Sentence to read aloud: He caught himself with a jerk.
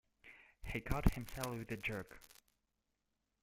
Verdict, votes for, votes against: rejected, 0, 2